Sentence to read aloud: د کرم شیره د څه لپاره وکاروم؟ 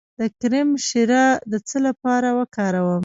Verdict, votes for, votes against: rejected, 1, 2